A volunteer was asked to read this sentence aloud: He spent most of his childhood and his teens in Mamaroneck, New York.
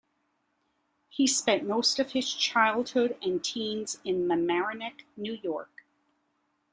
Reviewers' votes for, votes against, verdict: 0, 2, rejected